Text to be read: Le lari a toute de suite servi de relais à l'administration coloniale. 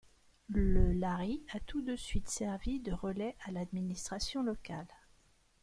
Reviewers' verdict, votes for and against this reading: rejected, 0, 2